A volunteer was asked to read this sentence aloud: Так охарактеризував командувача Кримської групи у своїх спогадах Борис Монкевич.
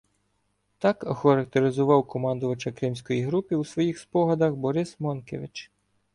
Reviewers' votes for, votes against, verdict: 1, 2, rejected